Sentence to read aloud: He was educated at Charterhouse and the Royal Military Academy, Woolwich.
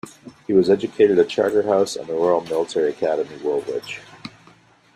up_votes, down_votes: 2, 1